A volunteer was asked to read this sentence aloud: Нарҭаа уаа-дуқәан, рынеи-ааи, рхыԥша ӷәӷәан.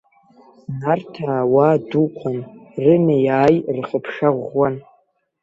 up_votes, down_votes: 2, 0